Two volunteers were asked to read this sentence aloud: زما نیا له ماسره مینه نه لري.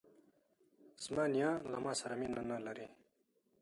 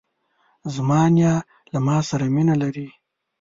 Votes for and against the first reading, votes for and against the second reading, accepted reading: 2, 0, 0, 2, first